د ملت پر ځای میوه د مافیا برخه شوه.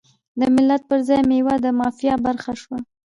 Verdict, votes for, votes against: rejected, 1, 2